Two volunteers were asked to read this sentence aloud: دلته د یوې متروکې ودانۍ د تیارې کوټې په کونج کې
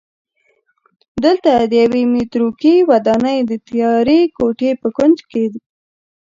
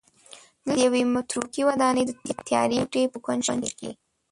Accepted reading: first